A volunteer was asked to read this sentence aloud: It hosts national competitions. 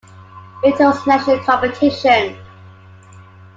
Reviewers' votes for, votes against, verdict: 2, 1, accepted